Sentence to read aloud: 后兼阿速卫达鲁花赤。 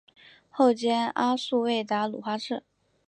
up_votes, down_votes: 2, 0